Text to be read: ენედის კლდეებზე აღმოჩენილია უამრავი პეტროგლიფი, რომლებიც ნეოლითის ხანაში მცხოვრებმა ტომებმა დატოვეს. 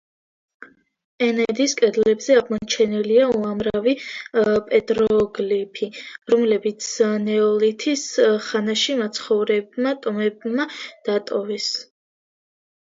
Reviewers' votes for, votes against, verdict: 0, 2, rejected